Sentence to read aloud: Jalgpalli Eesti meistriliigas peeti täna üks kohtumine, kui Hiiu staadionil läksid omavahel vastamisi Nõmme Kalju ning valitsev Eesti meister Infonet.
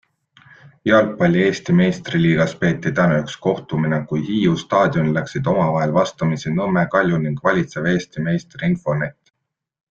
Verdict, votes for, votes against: accepted, 2, 0